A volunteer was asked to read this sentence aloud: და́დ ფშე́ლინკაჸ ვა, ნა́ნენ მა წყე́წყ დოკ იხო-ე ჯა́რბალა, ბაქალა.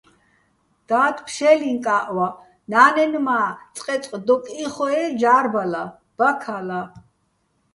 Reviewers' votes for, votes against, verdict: 2, 0, accepted